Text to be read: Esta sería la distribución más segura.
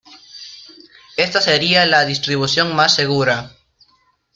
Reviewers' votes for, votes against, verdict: 1, 2, rejected